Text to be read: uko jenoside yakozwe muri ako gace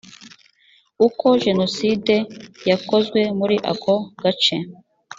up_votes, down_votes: 2, 0